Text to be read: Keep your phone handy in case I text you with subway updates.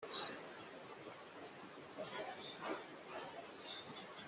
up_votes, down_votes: 0, 3